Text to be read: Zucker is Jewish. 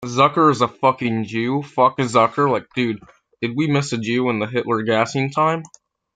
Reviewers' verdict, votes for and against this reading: rejected, 0, 2